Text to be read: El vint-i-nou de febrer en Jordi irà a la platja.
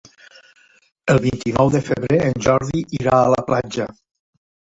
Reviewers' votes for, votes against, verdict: 1, 2, rejected